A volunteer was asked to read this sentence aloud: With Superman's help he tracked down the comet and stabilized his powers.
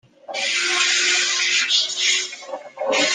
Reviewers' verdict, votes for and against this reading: rejected, 0, 2